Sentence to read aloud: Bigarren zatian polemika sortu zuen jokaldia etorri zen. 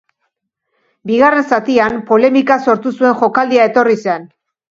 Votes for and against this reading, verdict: 2, 0, accepted